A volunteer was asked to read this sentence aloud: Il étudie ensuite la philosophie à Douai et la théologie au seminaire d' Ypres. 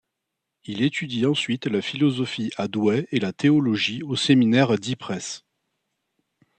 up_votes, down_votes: 2, 1